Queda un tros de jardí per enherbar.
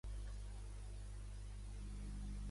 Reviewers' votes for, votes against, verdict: 0, 2, rejected